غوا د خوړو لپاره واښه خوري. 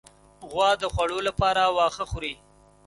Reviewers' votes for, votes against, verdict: 2, 0, accepted